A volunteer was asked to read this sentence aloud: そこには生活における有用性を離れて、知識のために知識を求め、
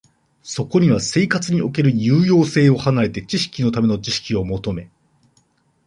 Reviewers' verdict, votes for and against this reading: rejected, 1, 2